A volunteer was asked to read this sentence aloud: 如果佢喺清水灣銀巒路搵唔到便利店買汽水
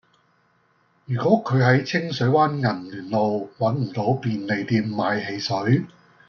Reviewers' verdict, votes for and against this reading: accepted, 2, 0